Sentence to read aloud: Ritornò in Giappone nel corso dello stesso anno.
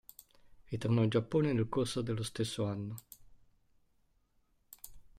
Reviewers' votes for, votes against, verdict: 2, 1, accepted